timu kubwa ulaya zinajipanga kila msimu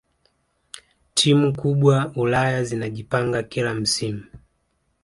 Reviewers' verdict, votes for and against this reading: accepted, 2, 1